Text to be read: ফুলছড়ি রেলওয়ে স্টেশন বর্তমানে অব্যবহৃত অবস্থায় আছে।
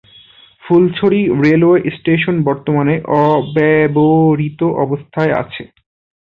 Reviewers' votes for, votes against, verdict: 0, 2, rejected